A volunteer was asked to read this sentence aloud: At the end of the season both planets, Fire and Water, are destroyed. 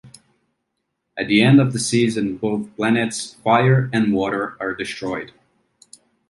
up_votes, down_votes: 2, 0